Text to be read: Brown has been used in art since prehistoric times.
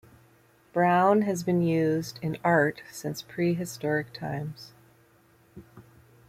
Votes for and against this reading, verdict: 2, 1, accepted